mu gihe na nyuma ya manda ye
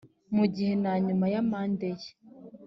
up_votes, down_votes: 2, 1